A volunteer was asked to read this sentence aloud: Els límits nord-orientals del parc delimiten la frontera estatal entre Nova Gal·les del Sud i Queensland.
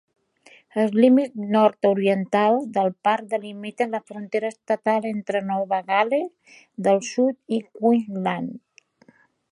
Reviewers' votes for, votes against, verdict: 0, 2, rejected